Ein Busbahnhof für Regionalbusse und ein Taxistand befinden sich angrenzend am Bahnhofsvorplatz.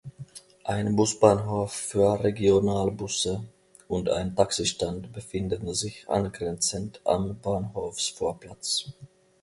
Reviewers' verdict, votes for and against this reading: accepted, 2, 0